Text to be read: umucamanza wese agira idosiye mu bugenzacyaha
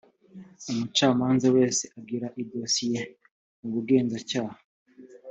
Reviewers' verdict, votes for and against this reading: accepted, 2, 0